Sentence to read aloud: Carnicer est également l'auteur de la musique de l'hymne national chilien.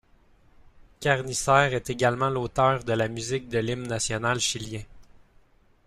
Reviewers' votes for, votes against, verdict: 2, 3, rejected